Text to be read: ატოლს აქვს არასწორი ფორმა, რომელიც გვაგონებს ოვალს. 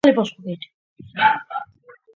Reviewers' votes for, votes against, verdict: 0, 2, rejected